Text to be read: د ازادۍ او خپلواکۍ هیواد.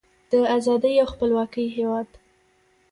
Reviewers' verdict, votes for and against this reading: rejected, 1, 2